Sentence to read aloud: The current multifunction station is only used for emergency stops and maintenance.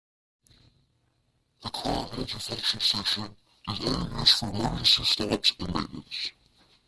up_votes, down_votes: 0, 2